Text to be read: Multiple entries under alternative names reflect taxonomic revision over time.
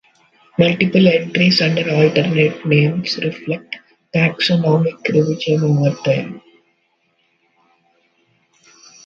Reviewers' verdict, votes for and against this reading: rejected, 0, 2